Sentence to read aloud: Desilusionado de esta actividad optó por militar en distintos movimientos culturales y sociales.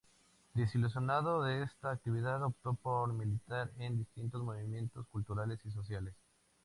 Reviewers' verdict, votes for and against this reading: accepted, 2, 0